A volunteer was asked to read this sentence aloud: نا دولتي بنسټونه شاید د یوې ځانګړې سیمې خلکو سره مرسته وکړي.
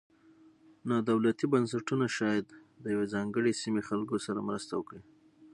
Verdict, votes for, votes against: accepted, 6, 0